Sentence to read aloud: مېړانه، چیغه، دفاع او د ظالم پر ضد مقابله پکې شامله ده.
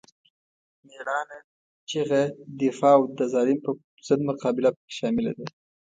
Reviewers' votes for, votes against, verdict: 3, 0, accepted